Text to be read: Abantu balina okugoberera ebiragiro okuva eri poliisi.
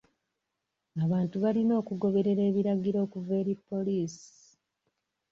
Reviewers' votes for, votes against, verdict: 2, 0, accepted